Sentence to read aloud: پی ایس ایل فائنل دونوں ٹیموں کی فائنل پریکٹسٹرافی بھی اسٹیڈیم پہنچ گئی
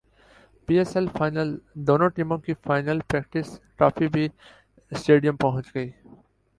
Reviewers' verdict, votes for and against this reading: rejected, 0, 3